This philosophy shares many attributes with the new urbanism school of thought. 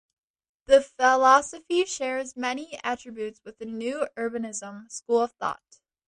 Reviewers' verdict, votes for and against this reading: rejected, 1, 4